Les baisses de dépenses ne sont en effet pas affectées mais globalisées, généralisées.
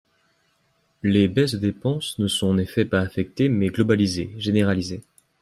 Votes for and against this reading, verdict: 1, 2, rejected